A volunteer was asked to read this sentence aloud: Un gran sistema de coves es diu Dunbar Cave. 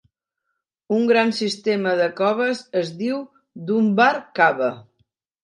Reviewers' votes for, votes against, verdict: 1, 2, rejected